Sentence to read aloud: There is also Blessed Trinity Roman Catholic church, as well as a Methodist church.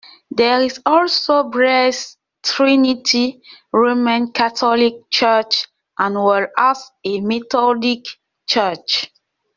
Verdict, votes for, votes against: rejected, 0, 2